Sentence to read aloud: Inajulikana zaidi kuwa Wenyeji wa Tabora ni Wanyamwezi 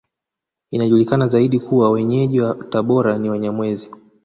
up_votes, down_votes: 2, 0